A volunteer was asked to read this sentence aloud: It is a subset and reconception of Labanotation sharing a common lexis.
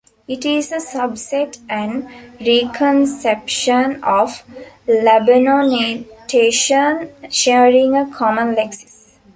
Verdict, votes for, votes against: rejected, 0, 2